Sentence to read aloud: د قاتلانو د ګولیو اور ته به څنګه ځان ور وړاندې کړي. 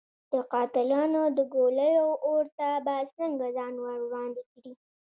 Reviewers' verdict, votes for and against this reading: rejected, 1, 2